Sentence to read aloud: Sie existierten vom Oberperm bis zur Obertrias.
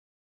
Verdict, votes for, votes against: rejected, 0, 2